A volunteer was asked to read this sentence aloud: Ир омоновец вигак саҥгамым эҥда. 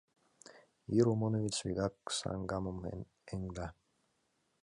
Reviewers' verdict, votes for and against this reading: rejected, 1, 2